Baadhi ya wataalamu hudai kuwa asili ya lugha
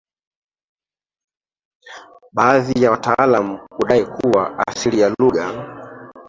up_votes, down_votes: 0, 2